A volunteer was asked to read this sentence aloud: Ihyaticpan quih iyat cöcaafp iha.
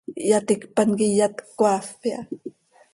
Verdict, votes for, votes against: accepted, 2, 0